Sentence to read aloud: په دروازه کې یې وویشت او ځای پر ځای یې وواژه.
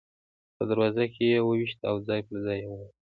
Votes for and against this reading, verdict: 1, 2, rejected